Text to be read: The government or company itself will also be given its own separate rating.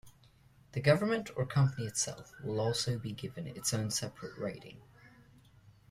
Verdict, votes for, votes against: accepted, 2, 0